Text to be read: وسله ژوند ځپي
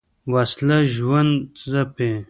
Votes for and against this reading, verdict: 0, 2, rejected